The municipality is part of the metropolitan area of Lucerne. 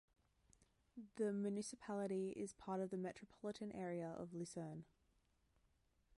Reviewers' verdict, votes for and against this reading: rejected, 0, 2